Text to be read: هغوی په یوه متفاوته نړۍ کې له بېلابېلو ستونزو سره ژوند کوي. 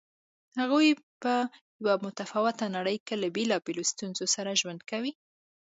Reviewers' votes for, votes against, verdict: 2, 0, accepted